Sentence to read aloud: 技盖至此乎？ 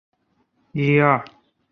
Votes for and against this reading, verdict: 0, 3, rejected